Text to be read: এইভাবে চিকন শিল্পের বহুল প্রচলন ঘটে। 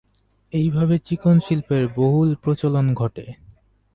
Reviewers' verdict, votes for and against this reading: accepted, 2, 0